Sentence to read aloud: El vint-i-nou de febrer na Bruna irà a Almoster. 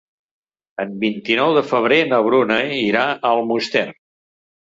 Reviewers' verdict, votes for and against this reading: rejected, 2, 3